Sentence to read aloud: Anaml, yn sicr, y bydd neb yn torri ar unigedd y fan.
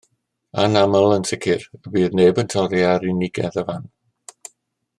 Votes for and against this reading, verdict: 2, 1, accepted